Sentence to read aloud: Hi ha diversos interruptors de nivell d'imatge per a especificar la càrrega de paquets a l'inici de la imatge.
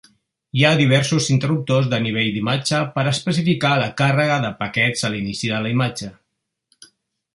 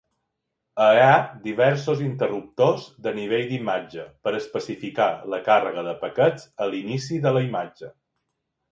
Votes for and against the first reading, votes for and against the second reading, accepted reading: 2, 0, 0, 2, first